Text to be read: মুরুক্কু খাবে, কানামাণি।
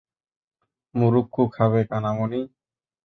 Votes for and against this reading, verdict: 2, 0, accepted